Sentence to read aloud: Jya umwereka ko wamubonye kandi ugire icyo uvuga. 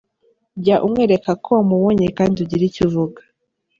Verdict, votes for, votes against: accepted, 2, 0